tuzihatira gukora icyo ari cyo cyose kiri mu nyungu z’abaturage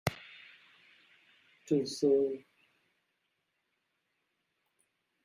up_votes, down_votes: 0, 3